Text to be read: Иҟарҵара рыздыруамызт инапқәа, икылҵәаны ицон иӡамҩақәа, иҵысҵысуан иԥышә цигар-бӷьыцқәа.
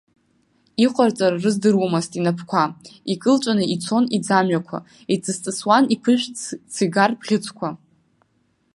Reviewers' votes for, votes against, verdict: 1, 2, rejected